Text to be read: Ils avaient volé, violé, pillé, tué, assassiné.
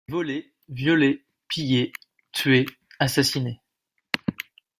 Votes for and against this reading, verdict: 0, 2, rejected